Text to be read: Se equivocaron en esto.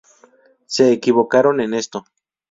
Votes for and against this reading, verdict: 2, 0, accepted